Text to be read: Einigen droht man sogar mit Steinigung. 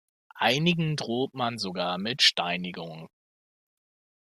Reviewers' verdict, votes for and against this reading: accepted, 2, 0